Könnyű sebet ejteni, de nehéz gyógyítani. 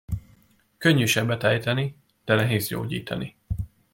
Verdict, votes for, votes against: accepted, 2, 0